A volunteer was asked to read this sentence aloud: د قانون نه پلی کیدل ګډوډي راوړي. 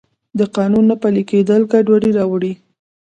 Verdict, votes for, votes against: rejected, 1, 2